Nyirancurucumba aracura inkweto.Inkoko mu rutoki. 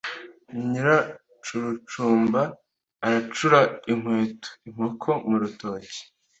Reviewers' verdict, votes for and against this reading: accepted, 2, 0